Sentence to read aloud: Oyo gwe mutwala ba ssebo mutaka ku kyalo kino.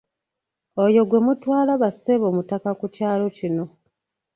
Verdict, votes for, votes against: rejected, 0, 2